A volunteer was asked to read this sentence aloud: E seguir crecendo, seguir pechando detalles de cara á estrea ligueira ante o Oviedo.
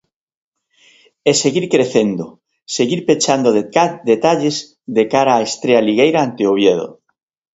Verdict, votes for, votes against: rejected, 0, 2